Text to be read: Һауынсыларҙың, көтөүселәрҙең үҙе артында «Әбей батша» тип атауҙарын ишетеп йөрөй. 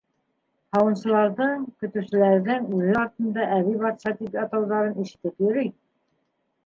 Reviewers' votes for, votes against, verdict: 3, 1, accepted